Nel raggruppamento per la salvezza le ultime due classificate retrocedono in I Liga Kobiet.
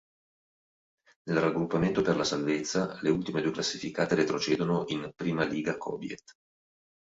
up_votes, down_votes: 4, 1